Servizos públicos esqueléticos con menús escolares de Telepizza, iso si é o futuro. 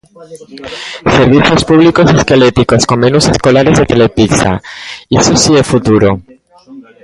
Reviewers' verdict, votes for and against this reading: rejected, 0, 2